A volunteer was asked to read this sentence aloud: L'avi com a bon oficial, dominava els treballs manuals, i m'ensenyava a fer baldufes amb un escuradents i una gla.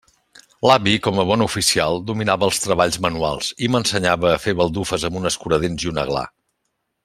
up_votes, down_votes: 2, 0